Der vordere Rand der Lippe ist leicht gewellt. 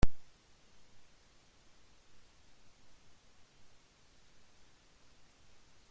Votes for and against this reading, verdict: 0, 2, rejected